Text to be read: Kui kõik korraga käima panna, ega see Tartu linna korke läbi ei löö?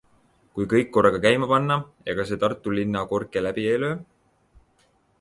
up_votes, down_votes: 2, 0